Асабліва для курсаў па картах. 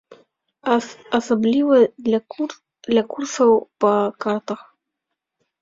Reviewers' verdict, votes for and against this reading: rejected, 0, 2